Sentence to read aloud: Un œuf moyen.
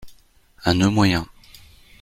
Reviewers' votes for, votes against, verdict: 1, 2, rejected